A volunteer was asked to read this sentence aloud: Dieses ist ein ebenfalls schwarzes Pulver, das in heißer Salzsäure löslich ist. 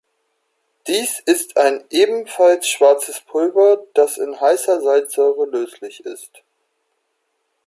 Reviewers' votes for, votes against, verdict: 0, 2, rejected